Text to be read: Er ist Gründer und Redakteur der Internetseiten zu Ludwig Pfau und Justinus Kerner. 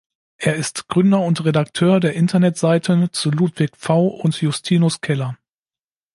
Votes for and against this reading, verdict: 0, 2, rejected